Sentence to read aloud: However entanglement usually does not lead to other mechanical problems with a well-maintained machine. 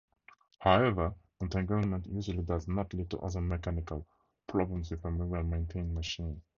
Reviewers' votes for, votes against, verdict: 0, 2, rejected